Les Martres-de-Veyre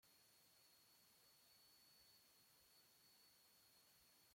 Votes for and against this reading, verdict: 0, 2, rejected